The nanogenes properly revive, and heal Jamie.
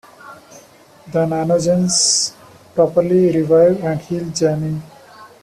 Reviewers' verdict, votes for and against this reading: rejected, 0, 2